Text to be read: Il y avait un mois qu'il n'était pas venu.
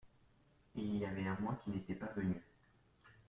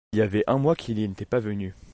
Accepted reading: first